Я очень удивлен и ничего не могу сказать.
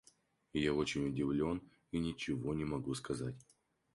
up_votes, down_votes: 4, 0